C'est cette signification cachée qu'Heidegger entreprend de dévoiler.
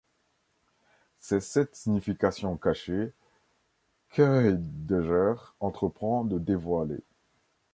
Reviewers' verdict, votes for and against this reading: rejected, 0, 2